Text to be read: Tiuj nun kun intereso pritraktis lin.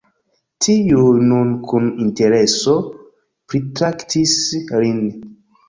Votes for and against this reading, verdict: 1, 2, rejected